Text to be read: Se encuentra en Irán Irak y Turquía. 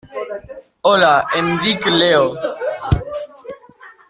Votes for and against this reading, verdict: 0, 2, rejected